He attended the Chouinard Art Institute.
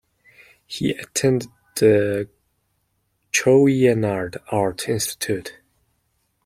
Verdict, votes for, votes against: rejected, 0, 2